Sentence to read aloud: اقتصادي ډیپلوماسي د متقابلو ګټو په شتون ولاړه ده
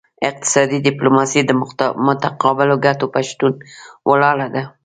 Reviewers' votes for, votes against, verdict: 1, 2, rejected